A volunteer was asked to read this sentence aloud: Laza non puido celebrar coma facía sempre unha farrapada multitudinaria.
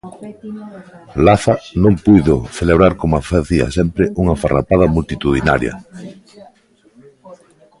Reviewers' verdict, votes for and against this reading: rejected, 1, 2